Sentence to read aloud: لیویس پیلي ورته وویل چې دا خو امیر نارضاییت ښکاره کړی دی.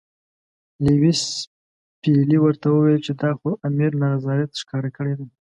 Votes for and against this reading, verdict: 2, 0, accepted